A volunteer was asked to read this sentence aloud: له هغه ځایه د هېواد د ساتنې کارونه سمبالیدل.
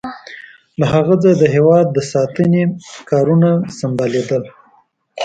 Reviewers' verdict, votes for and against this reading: rejected, 0, 2